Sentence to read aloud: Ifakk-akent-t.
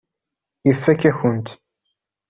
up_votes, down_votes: 2, 0